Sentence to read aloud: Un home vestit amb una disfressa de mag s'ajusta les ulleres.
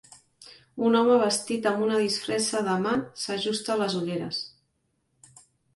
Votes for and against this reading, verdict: 2, 0, accepted